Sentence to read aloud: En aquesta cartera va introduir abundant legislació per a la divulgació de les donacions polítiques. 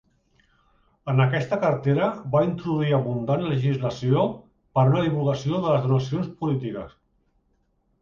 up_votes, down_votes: 1, 2